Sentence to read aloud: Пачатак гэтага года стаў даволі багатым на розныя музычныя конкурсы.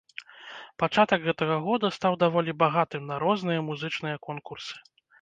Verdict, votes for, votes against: accepted, 2, 0